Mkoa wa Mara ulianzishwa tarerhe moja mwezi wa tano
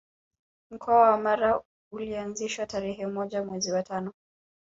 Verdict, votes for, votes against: rejected, 1, 2